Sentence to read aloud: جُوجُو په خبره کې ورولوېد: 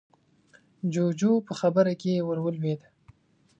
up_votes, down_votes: 2, 0